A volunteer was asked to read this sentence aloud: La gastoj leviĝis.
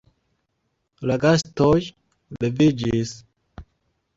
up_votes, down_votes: 2, 1